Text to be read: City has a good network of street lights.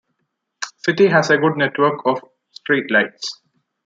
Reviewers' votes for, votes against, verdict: 2, 0, accepted